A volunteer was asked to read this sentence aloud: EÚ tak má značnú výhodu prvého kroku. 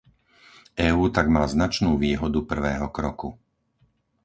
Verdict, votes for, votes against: accepted, 4, 0